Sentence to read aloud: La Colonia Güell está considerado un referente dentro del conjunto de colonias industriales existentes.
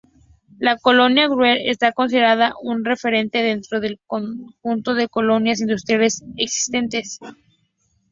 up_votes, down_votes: 2, 0